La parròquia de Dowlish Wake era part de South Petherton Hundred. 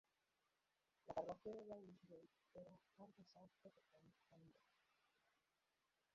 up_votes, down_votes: 0, 2